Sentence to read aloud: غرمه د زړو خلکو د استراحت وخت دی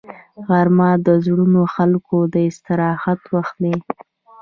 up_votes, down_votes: 0, 2